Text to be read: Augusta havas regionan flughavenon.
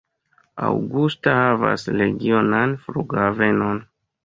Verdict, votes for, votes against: rejected, 1, 2